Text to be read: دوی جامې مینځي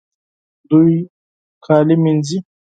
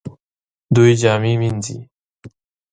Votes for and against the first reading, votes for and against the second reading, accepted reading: 2, 4, 2, 0, second